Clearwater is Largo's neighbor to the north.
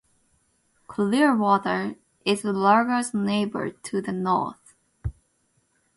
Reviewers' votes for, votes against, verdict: 2, 2, rejected